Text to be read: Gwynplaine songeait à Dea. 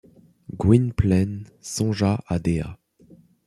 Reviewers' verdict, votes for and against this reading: rejected, 0, 2